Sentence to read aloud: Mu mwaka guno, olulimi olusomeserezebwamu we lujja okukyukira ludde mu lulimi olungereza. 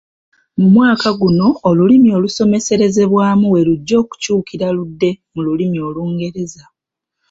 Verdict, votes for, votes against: accepted, 2, 0